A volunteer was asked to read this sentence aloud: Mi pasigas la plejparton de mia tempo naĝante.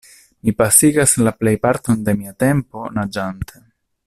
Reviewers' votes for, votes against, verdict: 2, 0, accepted